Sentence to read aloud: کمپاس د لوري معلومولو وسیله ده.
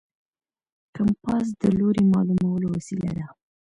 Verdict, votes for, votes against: accepted, 2, 0